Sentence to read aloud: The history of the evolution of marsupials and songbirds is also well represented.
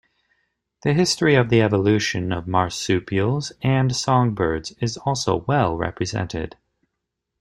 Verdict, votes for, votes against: accepted, 2, 1